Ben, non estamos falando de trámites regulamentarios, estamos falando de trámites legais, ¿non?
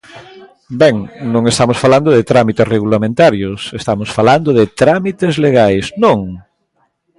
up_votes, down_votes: 1, 2